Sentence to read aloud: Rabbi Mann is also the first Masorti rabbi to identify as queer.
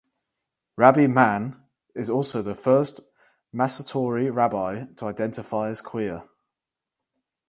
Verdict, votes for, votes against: rejected, 2, 2